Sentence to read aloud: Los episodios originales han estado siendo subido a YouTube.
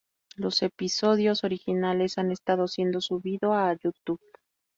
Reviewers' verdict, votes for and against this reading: accepted, 2, 0